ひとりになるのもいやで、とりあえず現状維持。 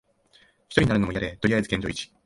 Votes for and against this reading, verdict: 2, 3, rejected